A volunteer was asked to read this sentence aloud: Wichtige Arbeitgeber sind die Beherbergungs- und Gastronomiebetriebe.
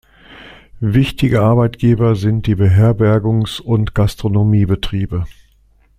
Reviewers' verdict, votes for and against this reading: accepted, 2, 0